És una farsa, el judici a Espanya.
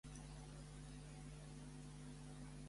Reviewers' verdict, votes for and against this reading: rejected, 0, 2